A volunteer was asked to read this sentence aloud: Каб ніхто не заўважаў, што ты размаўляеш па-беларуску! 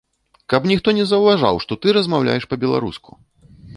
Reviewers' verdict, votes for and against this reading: accepted, 2, 0